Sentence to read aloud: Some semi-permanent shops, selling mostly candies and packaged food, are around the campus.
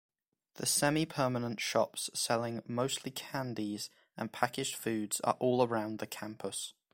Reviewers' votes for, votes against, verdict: 0, 2, rejected